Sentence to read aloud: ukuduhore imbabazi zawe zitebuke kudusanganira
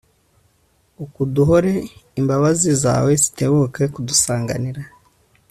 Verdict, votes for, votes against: accepted, 2, 0